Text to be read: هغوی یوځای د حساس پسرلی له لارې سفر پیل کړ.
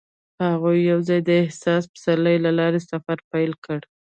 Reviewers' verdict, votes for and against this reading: accepted, 2, 0